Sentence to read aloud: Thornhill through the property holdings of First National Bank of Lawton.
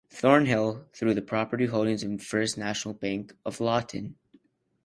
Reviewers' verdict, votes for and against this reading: rejected, 0, 2